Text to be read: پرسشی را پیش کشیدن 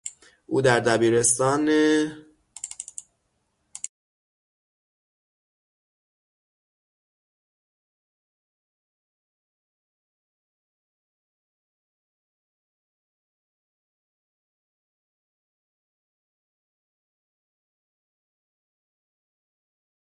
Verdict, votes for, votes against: rejected, 0, 6